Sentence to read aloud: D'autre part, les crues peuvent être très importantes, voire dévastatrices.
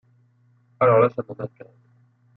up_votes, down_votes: 0, 2